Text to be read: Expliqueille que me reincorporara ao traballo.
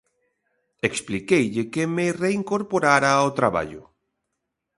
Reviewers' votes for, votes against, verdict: 2, 0, accepted